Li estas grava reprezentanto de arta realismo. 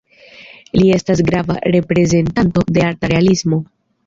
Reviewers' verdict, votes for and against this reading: rejected, 0, 2